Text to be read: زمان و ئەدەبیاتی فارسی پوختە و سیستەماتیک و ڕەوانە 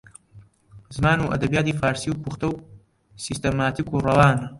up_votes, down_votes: 1, 2